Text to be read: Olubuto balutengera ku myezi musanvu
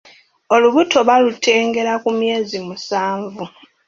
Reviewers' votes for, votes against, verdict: 2, 0, accepted